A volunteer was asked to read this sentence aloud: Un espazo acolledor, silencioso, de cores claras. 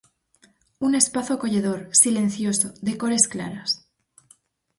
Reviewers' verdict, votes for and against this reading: accepted, 4, 0